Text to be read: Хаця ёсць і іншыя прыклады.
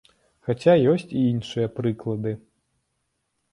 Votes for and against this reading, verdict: 2, 0, accepted